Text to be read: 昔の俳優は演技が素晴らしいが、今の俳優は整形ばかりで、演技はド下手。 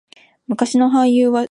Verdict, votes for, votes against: rejected, 0, 2